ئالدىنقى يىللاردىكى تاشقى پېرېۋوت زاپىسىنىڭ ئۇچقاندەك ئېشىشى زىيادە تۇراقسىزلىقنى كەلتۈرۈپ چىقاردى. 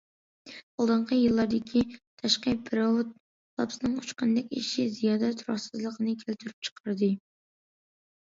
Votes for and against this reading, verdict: 2, 0, accepted